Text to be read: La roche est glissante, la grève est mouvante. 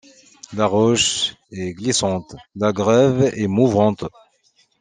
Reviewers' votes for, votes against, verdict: 2, 0, accepted